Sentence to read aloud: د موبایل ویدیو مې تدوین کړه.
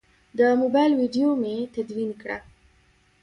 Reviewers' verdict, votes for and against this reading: rejected, 1, 2